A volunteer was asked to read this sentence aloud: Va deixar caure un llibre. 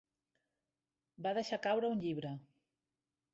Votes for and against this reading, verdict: 4, 0, accepted